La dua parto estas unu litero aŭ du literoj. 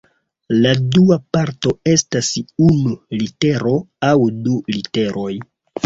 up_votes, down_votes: 0, 2